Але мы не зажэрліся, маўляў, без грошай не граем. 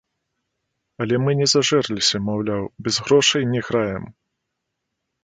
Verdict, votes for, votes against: rejected, 1, 2